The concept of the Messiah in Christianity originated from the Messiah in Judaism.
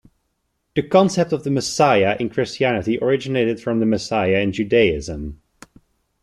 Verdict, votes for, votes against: accepted, 2, 1